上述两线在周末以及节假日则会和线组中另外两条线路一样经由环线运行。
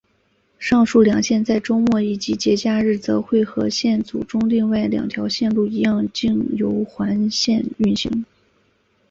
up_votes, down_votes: 5, 0